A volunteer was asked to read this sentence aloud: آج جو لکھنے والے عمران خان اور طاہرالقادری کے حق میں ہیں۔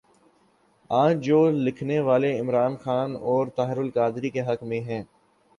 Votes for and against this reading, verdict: 2, 0, accepted